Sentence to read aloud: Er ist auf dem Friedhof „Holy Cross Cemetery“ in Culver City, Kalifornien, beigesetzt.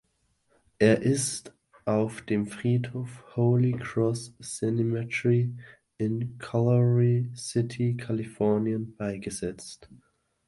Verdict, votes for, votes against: rejected, 1, 2